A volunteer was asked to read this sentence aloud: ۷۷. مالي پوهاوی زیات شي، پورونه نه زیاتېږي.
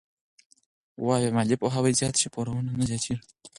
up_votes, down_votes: 0, 2